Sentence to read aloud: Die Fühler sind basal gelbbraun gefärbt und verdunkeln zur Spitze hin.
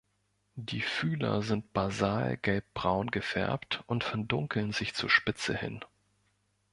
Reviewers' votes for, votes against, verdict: 0, 2, rejected